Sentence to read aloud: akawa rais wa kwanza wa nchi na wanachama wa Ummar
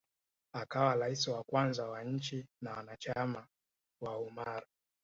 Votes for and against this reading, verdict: 2, 0, accepted